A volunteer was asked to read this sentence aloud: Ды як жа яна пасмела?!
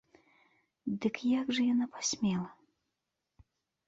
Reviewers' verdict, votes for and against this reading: rejected, 1, 2